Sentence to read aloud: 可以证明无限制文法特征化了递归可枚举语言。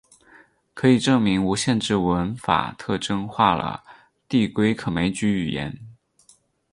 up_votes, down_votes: 4, 0